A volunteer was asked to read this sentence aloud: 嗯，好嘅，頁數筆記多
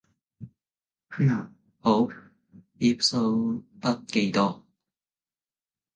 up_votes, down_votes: 0, 2